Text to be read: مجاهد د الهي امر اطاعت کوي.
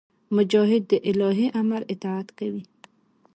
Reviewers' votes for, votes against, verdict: 0, 2, rejected